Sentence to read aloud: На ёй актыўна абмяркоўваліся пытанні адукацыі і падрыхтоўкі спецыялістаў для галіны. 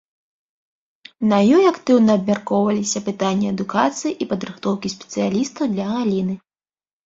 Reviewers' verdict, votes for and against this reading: rejected, 0, 2